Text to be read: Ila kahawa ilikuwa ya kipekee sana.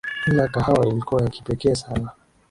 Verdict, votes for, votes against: accepted, 5, 3